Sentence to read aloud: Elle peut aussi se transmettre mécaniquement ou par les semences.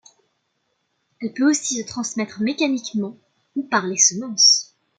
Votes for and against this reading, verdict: 2, 1, accepted